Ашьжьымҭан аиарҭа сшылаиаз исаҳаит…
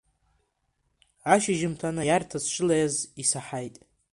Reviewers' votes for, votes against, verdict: 2, 1, accepted